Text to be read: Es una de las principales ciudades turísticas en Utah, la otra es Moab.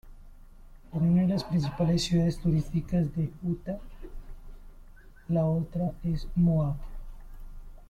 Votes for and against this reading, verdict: 1, 2, rejected